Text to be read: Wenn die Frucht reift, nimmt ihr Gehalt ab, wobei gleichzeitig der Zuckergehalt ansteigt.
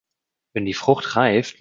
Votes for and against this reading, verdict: 0, 2, rejected